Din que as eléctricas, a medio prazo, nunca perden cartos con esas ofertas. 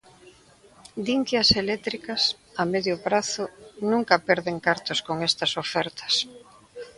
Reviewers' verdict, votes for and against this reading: rejected, 1, 2